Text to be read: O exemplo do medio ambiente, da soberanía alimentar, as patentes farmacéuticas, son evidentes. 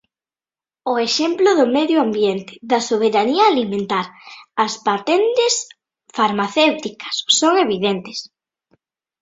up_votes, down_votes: 3, 1